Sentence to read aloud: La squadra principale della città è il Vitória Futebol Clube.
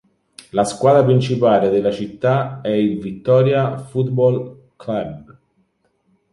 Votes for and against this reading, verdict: 1, 2, rejected